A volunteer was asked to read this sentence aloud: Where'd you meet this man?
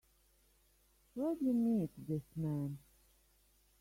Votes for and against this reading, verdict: 1, 2, rejected